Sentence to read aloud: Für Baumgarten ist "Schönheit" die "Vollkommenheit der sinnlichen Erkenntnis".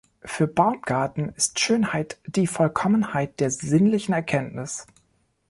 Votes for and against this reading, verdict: 2, 0, accepted